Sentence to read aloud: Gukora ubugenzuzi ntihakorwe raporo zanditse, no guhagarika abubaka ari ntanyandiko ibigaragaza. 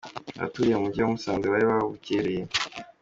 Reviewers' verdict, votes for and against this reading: rejected, 0, 2